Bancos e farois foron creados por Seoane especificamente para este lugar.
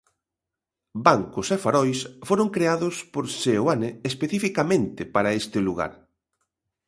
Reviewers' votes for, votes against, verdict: 2, 0, accepted